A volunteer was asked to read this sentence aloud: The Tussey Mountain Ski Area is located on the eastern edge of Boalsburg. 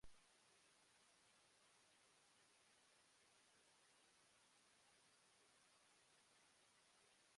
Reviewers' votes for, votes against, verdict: 0, 2, rejected